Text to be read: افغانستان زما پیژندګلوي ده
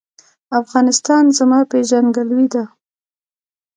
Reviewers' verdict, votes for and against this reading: rejected, 0, 2